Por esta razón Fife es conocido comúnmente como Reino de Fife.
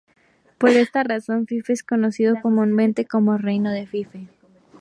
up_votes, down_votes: 2, 2